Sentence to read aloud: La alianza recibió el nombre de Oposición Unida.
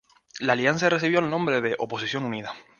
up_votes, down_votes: 4, 2